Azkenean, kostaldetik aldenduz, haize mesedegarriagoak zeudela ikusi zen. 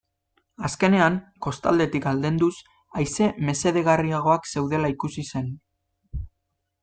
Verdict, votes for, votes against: accepted, 2, 0